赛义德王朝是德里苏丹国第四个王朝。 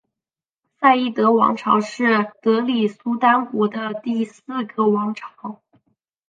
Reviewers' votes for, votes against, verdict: 4, 0, accepted